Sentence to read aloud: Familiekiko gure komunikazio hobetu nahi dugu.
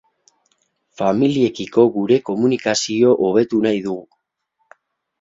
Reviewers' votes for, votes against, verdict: 0, 2, rejected